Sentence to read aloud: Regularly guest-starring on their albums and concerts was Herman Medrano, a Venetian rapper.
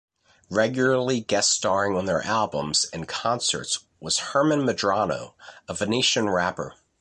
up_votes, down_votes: 2, 0